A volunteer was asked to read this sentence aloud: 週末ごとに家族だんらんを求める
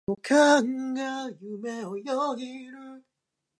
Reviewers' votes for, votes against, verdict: 0, 2, rejected